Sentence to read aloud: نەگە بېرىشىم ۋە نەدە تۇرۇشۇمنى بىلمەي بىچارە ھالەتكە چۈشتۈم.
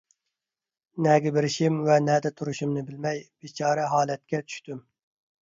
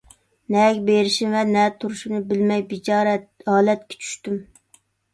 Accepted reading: first